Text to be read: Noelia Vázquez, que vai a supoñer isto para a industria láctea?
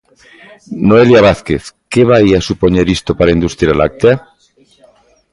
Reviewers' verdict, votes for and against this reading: accepted, 2, 0